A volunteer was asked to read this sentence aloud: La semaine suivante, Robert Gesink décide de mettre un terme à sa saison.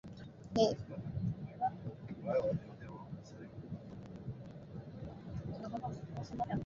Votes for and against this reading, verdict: 0, 2, rejected